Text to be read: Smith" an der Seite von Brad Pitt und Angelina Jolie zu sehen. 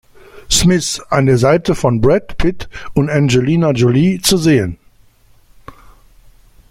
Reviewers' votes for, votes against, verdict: 2, 0, accepted